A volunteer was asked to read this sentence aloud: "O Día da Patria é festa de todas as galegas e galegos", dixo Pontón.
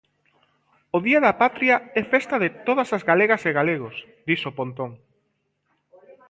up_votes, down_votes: 2, 0